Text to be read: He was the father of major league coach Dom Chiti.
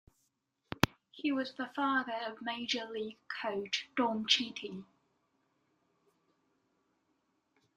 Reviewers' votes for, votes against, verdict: 2, 1, accepted